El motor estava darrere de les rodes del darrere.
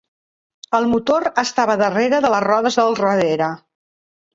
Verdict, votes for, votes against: rejected, 1, 2